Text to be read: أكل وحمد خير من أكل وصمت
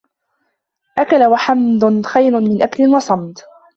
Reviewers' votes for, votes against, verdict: 0, 2, rejected